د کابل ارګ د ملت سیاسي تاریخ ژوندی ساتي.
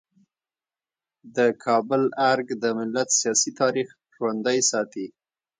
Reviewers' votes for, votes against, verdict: 1, 2, rejected